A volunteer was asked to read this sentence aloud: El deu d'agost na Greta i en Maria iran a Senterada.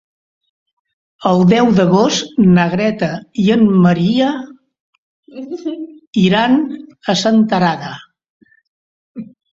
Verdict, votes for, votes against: rejected, 1, 2